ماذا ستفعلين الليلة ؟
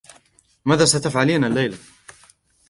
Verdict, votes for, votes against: rejected, 1, 2